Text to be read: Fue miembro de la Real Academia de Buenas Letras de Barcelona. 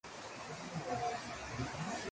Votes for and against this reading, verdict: 0, 2, rejected